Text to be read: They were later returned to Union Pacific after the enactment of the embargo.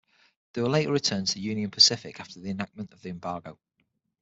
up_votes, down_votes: 6, 0